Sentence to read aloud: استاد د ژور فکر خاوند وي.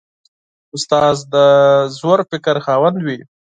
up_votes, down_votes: 2, 6